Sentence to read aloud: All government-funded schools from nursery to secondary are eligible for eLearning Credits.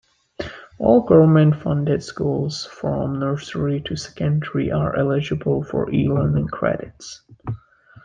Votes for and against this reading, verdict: 2, 0, accepted